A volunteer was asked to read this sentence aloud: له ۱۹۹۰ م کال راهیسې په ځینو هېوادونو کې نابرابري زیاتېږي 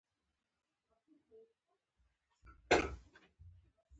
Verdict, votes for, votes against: rejected, 0, 2